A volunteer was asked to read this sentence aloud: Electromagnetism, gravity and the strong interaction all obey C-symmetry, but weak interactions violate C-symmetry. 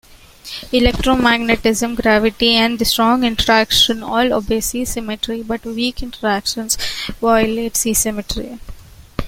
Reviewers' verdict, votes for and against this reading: accepted, 2, 0